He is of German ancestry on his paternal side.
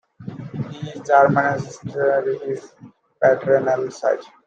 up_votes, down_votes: 0, 2